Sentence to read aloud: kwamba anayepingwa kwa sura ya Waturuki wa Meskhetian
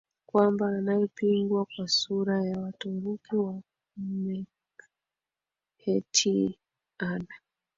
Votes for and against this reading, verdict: 2, 0, accepted